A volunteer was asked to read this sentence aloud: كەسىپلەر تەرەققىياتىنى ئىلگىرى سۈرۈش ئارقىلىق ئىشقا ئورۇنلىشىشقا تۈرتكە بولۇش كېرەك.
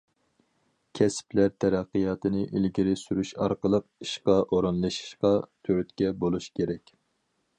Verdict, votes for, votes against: accepted, 4, 0